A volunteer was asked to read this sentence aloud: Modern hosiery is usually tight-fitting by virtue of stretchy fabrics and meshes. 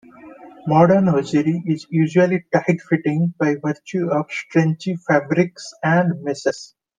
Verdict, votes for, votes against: rejected, 0, 2